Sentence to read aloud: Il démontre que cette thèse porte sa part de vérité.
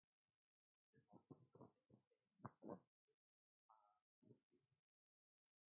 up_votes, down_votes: 0, 2